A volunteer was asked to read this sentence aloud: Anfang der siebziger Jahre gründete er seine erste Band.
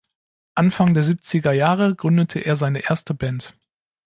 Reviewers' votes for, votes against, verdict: 2, 0, accepted